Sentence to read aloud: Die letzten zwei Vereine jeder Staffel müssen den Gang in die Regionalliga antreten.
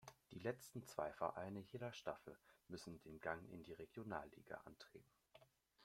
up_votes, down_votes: 1, 2